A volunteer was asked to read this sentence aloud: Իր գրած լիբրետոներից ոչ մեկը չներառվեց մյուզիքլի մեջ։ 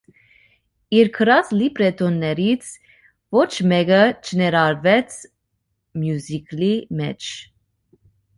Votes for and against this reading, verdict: 2, 0, accepted